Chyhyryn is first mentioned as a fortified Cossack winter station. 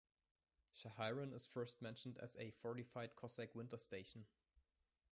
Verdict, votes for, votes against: rejected, 0, 2